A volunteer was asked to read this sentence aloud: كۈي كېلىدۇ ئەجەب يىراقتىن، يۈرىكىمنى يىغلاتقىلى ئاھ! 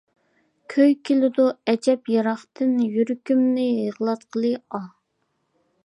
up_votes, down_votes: 2, 0